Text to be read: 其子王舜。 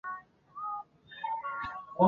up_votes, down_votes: 0, 2